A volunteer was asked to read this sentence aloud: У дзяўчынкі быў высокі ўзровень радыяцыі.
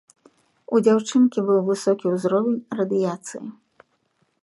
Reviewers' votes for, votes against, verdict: 2, 0, accepted